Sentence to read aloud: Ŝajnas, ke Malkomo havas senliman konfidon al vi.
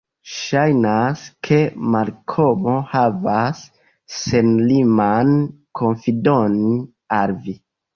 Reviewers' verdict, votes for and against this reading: rejected, 1, 3